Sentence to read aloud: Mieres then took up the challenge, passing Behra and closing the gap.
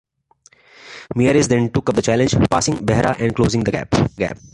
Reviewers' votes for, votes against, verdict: 0, 2, rejected